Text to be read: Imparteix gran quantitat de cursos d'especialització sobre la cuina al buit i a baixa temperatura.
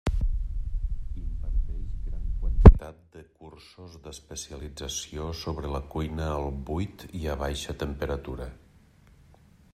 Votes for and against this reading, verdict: 0, 2, rejected